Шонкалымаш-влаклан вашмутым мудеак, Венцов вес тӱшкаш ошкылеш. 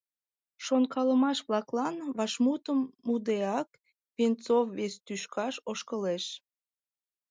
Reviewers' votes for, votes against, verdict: 2, 0, accepted